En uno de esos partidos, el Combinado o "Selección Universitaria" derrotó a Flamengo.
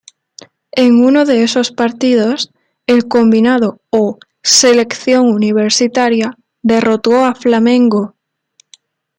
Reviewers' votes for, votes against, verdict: 2, 0, accepted